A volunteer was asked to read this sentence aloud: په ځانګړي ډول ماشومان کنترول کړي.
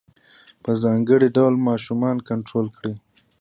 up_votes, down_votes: 0, 2